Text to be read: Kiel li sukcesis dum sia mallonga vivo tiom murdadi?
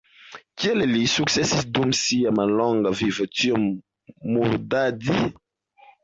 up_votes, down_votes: 1, 2